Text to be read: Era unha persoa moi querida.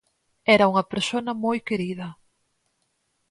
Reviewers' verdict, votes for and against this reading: rejected, 0, 4